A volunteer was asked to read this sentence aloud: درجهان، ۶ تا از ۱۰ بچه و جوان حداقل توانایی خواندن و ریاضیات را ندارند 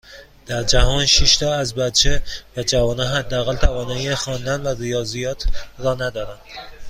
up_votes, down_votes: 0, 2